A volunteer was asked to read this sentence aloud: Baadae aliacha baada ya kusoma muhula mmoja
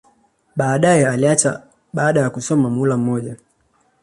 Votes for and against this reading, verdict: 2, 0, accepted